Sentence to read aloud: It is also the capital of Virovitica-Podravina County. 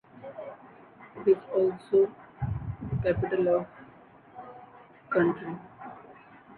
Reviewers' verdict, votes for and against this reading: rejected, 0, 2